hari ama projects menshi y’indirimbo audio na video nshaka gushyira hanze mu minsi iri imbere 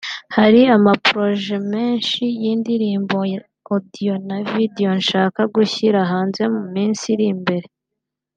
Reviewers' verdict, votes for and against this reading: rejected, 0, 2